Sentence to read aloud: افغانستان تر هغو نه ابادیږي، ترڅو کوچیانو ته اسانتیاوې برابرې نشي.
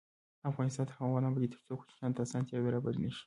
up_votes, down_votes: 1, 2